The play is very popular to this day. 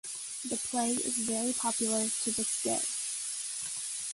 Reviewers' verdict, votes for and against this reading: rejected, 1, 2